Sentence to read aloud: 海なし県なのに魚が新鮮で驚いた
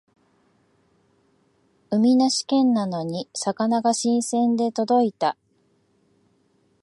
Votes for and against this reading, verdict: 0, 2, rejected